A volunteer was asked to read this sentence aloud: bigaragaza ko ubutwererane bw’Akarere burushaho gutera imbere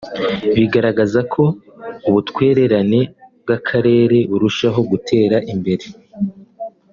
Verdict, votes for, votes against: accepted, 2, 0